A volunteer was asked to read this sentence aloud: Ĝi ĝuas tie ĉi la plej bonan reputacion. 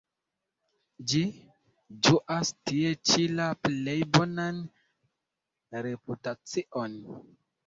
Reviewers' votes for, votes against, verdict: 1, 2, rejected